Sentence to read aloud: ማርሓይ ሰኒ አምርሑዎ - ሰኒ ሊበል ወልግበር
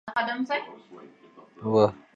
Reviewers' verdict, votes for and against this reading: rejected, 0, 2